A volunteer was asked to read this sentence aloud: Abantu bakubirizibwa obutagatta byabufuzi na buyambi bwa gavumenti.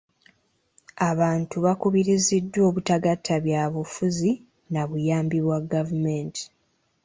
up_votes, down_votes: 2, 0